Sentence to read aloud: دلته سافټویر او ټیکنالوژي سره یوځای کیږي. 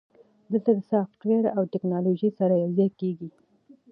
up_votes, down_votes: 2, 0